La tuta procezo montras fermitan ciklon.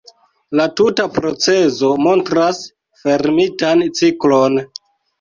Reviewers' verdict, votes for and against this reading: accepted, 2, 0